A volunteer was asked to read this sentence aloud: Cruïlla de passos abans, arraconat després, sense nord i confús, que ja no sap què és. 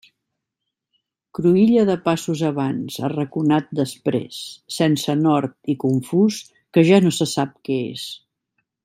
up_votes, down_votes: 1, 2